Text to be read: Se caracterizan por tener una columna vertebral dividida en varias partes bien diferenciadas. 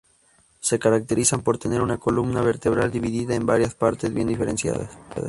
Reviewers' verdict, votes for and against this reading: accepted, 2, 0